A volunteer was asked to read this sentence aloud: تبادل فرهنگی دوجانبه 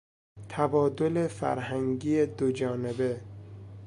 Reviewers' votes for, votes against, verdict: 2, 0, accepted